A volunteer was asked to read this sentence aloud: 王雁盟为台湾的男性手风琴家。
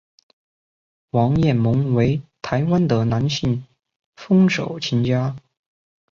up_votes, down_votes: 1, 4